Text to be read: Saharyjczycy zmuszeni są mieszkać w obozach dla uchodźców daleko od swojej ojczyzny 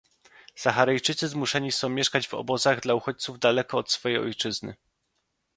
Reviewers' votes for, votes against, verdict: 2, 0, accepted